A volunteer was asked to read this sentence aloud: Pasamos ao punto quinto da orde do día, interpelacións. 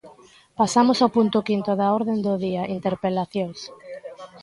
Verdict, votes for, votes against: rejected, 0, 2